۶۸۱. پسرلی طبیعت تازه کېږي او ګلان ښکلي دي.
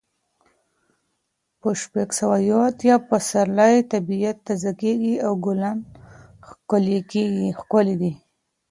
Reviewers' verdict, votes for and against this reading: rejected, 0, 2